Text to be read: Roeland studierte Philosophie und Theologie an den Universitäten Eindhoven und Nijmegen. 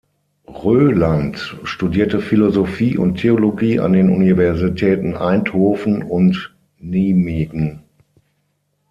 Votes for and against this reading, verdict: 0, 6, rejected